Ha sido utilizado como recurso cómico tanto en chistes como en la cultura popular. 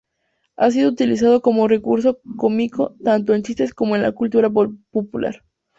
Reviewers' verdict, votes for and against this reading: rejected, 0, 2